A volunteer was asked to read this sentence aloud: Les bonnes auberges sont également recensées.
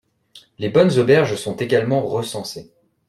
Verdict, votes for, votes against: accepted, 2, 0